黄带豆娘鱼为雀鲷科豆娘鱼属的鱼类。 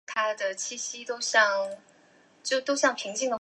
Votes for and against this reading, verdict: 2, 1, accepted